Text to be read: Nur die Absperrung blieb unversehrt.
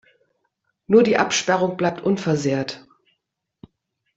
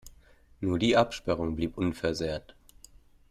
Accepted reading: second